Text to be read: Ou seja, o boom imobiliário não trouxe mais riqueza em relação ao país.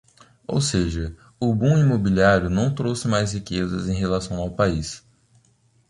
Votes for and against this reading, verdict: 2, 1, accepted